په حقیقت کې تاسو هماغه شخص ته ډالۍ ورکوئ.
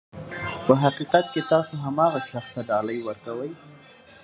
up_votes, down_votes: 2, 1